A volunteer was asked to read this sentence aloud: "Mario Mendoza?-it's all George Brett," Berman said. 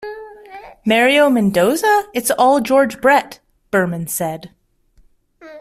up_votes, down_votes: 2, 0